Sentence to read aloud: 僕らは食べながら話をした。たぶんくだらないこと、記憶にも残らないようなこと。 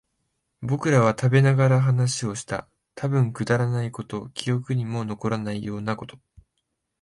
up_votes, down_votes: 3, 0